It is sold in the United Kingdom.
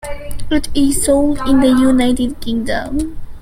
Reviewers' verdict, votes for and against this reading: accepted, 2, 1